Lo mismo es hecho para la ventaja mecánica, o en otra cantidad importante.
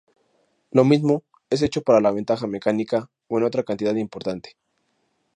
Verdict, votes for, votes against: rejected, 0, 2